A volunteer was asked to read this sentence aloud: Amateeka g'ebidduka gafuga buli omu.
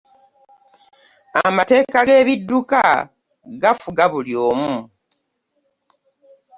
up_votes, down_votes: 0, 2